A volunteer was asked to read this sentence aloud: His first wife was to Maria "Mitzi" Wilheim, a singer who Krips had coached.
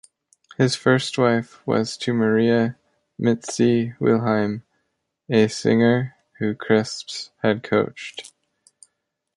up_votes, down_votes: 0, 2